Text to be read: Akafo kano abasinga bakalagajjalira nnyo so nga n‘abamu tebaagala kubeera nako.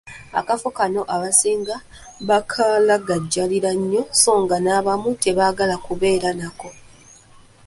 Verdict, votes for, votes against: rejected, 1, 2